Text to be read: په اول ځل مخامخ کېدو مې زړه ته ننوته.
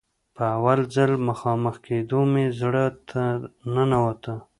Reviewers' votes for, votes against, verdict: 2, 0, accepted